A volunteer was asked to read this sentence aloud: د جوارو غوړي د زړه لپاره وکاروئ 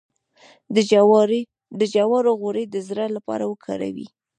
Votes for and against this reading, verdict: 2, 3, rejected